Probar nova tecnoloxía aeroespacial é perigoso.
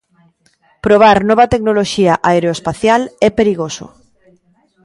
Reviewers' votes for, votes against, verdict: 2, 0, accepted